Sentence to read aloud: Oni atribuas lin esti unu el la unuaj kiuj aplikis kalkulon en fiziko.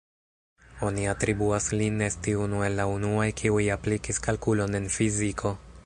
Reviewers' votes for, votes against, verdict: 1, 2, rejected